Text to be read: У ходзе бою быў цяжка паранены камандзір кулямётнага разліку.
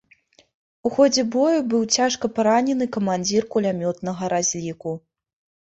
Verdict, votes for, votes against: accepted, 2, 0